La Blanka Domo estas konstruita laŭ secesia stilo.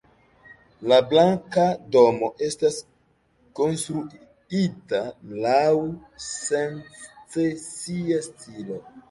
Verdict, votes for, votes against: rejected, 0, 2